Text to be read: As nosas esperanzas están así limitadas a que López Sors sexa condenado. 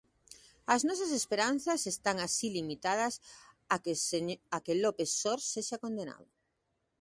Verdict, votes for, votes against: rejected, 0, 2